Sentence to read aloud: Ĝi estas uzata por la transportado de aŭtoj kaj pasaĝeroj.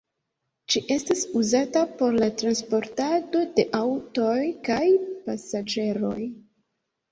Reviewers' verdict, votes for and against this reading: rejected, 0, 2